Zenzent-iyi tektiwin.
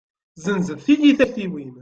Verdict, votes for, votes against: rejected, 1, 2